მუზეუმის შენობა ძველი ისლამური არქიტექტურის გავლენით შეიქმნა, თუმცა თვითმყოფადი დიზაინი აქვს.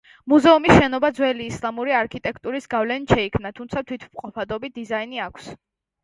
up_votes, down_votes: 0, 2